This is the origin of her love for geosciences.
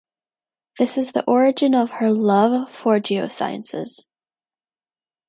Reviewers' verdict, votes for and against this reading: accepted, 2, 0